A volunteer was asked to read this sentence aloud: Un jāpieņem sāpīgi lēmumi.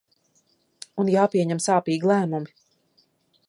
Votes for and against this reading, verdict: 2, 0, accepted